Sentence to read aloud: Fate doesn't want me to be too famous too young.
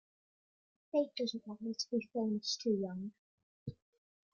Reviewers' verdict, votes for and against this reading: rejected, 1, 2